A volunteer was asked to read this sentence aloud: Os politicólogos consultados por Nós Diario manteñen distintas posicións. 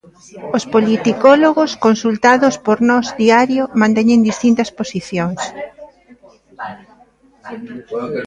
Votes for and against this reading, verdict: 2, 0, accepted